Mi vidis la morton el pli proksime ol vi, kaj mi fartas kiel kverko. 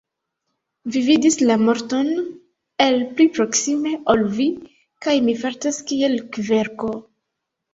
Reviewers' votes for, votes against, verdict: 2, 0, accepted